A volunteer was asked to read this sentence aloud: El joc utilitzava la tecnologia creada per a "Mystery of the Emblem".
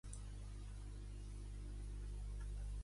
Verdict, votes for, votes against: rejected, 0, 2